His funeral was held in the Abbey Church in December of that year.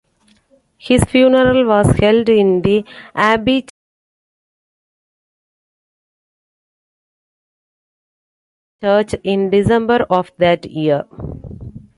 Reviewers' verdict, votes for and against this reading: rejected, 1, 2